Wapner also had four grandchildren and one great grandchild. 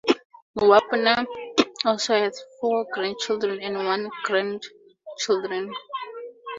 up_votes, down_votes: 0, 6